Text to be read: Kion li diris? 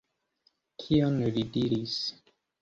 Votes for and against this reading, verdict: 2, 0, accepted